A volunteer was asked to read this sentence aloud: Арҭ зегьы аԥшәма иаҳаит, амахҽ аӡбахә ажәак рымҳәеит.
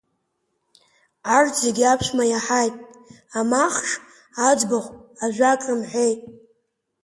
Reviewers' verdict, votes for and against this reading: accepted, 6, 1